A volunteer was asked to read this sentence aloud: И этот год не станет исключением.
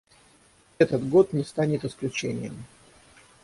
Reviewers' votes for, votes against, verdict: 3, 6, rejected